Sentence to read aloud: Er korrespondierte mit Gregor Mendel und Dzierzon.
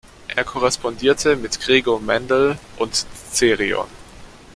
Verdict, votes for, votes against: rejected, 0, 2